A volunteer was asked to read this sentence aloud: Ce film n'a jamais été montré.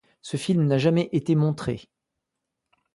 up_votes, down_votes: 2, 0